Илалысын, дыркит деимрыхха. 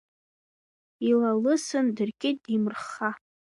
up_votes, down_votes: 2, 0